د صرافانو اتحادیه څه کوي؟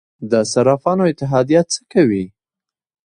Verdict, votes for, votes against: accepted, 2, 1